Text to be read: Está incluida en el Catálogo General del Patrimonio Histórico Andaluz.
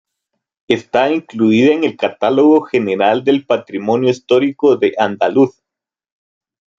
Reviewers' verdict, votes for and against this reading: rejected, 0, 2